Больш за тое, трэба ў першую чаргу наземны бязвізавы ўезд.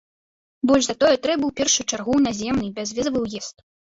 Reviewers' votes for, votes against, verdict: 0, 2, rejected